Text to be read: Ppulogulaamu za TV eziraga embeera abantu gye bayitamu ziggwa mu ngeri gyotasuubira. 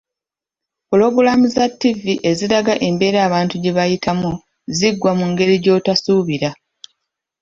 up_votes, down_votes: 2, 1